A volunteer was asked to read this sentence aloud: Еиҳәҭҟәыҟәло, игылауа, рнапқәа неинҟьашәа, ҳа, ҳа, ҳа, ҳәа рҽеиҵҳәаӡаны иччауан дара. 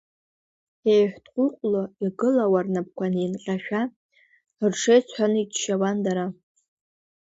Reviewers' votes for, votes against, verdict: 0, 2, rejected